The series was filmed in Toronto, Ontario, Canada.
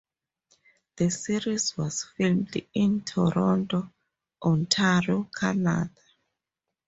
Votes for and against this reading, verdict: 0, 2, rejected